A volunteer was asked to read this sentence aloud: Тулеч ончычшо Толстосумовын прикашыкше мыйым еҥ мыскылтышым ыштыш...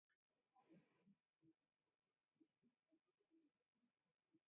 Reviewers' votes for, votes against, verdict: 1, 2, rejected